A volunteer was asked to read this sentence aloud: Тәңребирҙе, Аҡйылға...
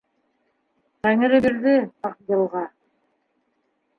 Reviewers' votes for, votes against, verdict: 2, 1, accepted